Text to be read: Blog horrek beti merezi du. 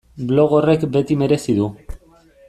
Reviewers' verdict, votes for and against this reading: accepted, 2, 0